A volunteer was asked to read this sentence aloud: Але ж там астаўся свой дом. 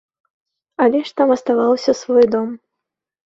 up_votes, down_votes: 1, 2